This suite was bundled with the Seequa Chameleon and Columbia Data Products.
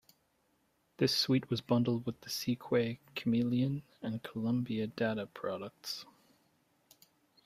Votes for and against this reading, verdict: 0, 2, rejected